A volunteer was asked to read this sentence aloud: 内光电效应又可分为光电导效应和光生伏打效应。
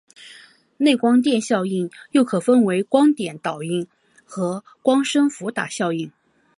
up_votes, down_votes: 5, 1